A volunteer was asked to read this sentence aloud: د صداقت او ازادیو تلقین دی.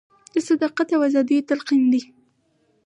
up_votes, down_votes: 2, 2